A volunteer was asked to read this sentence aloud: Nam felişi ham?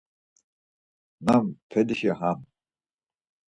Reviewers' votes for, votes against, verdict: 4, 0, accepted